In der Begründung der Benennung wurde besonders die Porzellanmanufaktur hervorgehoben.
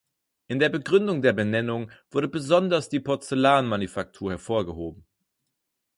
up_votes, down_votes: 2, 4